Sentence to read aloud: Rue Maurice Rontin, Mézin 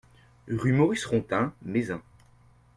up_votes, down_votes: 2, 0